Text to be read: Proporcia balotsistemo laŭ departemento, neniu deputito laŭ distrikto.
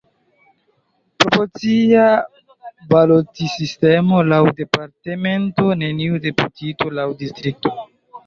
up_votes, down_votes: 0, 2